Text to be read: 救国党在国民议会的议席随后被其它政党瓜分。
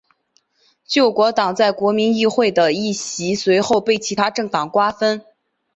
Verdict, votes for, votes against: accepted, 6, 0